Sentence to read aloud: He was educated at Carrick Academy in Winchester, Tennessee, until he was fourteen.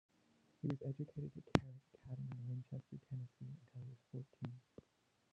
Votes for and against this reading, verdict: 0, 2, rejected